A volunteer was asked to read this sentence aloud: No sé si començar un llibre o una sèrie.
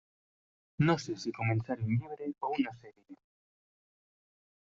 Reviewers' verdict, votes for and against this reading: rejected, 1, 2